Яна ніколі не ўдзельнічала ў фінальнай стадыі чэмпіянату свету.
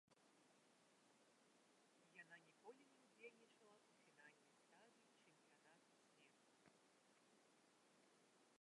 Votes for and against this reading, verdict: 0, 2, rejected